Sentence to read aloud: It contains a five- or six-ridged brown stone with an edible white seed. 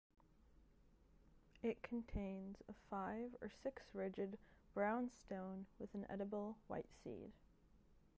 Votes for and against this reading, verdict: 0, 2, rejected